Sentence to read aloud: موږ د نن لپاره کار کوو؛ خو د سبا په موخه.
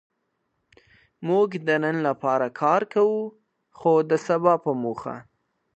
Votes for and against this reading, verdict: 2, 0, accepted